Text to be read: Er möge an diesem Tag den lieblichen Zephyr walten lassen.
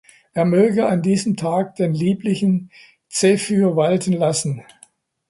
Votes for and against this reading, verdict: 2, 0, accepted